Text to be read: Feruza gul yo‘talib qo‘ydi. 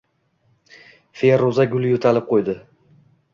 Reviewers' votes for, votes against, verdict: 2, 0, accepted